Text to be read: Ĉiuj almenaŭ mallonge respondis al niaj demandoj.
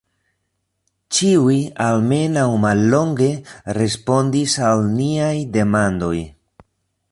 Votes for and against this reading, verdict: 2, 0, accepted